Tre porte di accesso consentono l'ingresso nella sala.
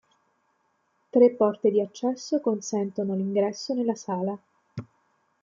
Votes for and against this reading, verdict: 2, 0, accepted